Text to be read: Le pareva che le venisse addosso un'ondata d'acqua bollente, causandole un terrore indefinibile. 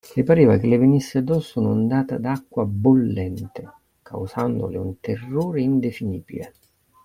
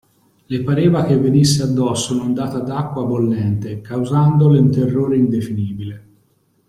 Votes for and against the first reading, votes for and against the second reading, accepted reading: 2, 0, 0, 2, first